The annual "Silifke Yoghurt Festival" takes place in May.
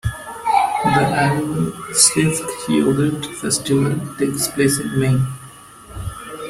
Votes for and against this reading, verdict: 0, 2, rejected